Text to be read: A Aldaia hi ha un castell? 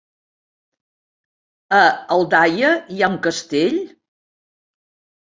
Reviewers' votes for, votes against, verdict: 4, 0, accepted